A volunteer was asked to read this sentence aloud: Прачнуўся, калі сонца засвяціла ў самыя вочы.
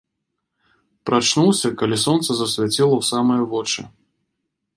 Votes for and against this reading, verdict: 2, 0, accepted